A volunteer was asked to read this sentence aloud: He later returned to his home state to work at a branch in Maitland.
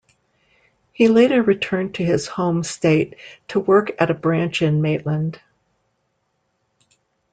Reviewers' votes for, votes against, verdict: 2, 0, accepted